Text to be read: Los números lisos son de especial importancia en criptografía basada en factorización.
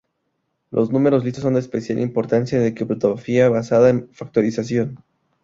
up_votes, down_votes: 0, 2